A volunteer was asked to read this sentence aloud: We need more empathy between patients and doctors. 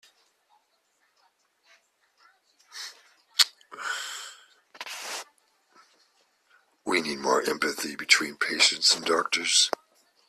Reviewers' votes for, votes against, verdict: 2, 0, accepted